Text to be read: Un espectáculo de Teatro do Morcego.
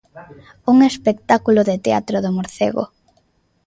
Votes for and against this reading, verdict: 2, 0, accepted